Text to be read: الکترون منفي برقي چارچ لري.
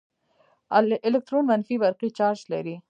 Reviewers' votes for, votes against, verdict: 2, 3, rejected